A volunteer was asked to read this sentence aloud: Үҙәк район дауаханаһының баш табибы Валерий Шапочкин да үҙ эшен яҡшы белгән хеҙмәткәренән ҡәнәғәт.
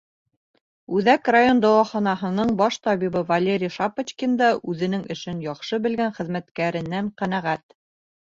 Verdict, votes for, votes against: rejected, 0, 2